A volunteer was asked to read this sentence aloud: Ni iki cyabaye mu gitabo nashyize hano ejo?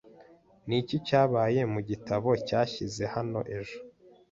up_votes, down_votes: 1, 2